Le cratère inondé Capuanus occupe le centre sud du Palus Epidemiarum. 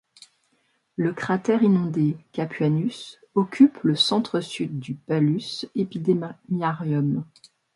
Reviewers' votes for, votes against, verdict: 1, 2, rejected